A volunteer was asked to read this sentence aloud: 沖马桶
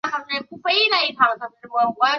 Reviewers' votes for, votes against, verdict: 0, 2, rejected